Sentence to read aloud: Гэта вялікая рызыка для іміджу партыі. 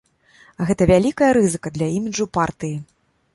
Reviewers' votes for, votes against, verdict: 3, 0, accepted